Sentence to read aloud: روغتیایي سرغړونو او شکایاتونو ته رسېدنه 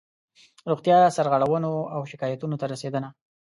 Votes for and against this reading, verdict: 2, 1, accepted